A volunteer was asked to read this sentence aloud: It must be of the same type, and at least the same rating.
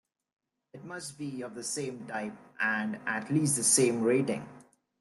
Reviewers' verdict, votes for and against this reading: accepted, 3, 1